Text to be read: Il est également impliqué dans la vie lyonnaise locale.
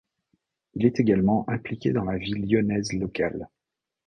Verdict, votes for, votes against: accepted, 2, 0